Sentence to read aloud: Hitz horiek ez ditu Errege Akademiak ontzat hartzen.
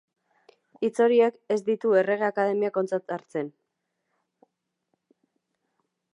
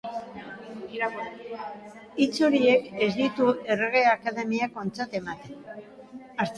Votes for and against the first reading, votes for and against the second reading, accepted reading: 2, 0, 0, 2, first